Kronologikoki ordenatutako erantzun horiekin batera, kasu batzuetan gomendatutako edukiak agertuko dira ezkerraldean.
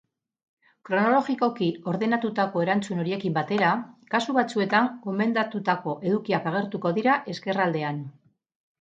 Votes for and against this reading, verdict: 2, 0, accepted